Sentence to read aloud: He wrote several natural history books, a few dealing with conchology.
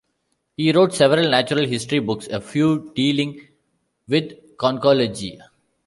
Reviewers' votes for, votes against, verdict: 2, 0, accepted